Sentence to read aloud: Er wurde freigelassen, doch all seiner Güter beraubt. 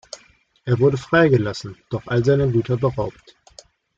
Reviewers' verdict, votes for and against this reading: accepted, 2, 0